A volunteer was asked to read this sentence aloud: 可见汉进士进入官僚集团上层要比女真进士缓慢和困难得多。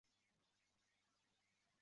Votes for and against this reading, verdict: 0, 2, rejected